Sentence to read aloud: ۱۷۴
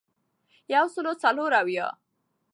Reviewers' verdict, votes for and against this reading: rejected, 0, 2